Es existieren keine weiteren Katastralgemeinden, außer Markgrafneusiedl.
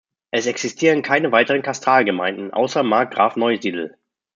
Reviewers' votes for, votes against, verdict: 0, 2, rejected